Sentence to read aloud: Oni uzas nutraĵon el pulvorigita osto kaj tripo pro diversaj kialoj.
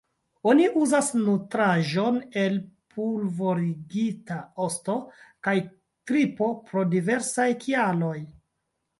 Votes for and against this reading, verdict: 2, 1, accepted